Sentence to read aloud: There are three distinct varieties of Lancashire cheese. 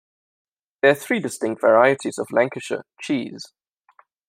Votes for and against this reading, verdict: 1, 2, rejected